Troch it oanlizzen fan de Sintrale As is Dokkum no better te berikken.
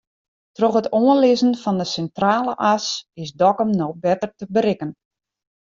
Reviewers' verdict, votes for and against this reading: accepted, 2, 0